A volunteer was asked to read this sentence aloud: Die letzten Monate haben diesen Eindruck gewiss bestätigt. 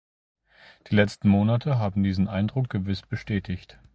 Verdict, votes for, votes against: accepted, 2, 0